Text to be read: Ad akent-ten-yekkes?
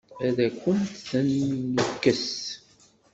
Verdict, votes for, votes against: rejected, 1, 2